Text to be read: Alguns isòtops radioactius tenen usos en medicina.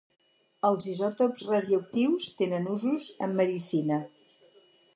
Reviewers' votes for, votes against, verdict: 0, 4, rejected